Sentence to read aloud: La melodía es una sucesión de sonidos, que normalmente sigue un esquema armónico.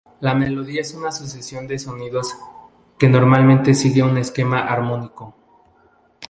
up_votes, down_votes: 0, 2